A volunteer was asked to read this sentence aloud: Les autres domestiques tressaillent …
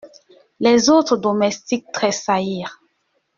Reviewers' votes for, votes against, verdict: 1, 2, rejected